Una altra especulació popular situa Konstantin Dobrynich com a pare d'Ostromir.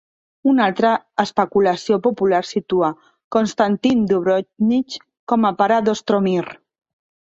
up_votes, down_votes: 1, 2